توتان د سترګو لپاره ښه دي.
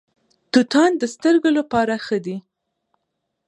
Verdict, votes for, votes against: accepted, 2, 1